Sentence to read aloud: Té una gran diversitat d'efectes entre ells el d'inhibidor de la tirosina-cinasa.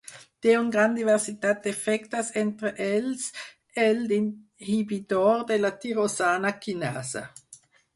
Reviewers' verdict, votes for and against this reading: rejected, 0, 4